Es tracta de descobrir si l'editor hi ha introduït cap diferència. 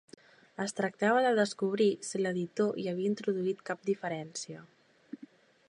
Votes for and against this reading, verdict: 1, 3, rejected